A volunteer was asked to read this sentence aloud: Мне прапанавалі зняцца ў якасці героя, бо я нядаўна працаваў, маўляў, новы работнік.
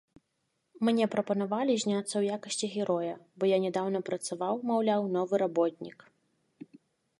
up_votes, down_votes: 3, 0